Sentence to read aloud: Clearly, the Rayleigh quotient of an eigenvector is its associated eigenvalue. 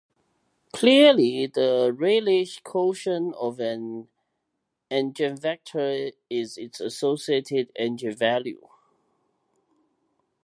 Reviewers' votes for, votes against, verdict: 1, 2, rejected